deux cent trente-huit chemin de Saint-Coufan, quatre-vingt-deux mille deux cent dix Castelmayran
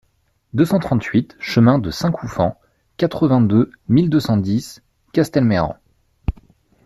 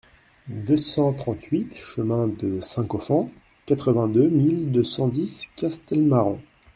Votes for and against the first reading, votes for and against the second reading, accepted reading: 2, 0, 0, 2, first